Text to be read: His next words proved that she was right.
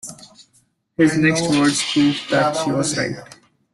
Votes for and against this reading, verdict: 1, 2, rejected